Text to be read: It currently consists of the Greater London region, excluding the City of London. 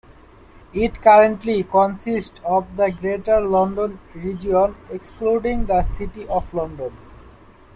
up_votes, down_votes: 2, 1